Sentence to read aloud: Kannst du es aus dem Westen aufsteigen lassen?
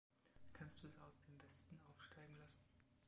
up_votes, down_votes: 0, 2